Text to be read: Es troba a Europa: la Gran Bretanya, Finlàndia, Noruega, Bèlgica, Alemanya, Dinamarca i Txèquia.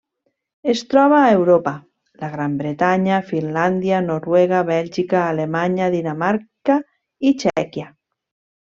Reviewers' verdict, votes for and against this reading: accepted, 3, 0